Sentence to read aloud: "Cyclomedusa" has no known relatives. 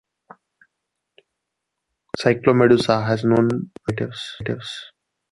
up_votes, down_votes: 0, 2